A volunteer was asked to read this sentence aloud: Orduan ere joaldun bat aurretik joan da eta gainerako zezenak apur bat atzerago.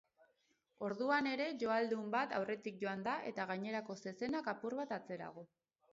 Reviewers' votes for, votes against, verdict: 0, 2, rejected